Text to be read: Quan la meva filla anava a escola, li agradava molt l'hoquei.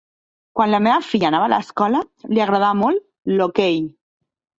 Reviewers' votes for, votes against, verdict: 0, 2, rejected